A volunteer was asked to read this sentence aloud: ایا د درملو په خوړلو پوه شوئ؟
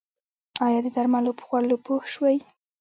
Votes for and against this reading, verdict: 2, 1, accepted